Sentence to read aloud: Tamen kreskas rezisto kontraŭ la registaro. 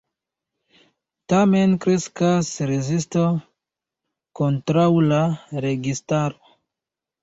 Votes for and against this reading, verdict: 2, 0, accepted